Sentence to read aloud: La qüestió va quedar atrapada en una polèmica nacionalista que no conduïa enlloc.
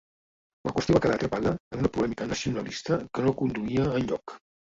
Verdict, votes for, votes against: rejected, 1, 2